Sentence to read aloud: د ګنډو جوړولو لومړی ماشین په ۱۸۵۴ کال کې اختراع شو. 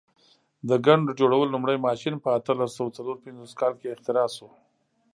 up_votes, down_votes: 0, 2